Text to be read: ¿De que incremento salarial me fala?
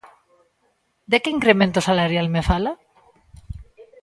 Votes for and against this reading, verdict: 2, 0, accepted